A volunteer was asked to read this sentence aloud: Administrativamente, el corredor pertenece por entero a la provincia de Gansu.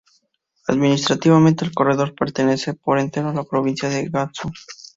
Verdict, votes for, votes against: accepted, 2, 0